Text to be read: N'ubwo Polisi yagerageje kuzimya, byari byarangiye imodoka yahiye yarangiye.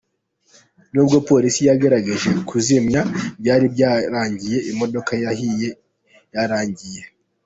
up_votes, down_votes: 2, 1